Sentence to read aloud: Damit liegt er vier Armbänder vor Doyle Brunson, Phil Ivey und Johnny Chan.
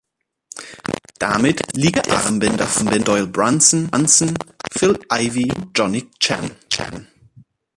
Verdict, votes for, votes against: rejected, 0, 2